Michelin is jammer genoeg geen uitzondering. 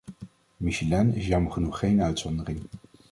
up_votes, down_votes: 2, 0